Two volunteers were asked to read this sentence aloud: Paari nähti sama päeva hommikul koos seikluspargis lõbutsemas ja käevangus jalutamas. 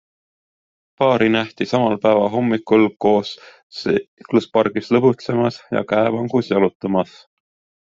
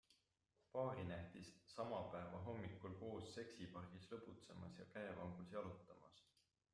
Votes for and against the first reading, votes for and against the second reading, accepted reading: 2, 1, 0, 2, first